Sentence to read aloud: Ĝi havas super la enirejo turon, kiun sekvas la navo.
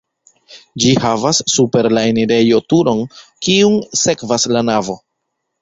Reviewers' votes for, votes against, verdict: 2, 0, accepted